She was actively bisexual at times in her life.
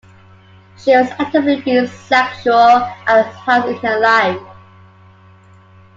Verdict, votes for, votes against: accepted, 2, 0